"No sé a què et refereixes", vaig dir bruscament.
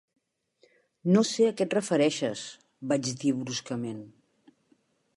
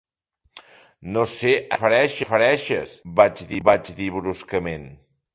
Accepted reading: first